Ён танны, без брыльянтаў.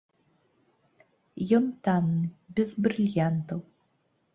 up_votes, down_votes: 3, 0